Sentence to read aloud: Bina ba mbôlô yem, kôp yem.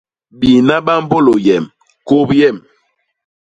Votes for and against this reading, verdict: 0, 2, rejected